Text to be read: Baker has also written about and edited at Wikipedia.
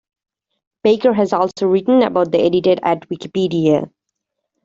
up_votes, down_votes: 0, 2